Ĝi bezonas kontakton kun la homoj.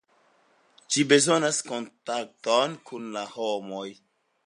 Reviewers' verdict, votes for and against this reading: accepted, 3, 0